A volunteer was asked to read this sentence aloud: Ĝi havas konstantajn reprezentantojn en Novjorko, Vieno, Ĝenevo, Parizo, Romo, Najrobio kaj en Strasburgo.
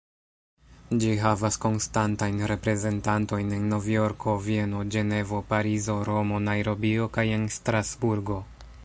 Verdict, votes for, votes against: rejected, 1, 2